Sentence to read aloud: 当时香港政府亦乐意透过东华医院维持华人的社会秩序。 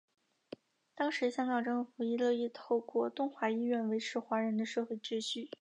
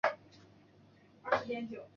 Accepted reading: first